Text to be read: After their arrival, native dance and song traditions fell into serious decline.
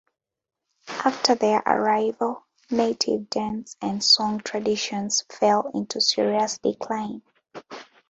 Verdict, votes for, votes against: rejected, 1, 2